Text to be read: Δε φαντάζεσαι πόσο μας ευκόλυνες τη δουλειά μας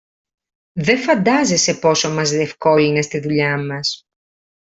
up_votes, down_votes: 1, 2